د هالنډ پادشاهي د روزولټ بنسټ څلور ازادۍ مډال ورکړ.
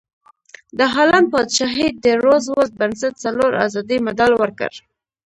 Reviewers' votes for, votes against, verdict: 1, 2, rejected